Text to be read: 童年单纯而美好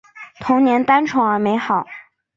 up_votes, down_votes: 2, 0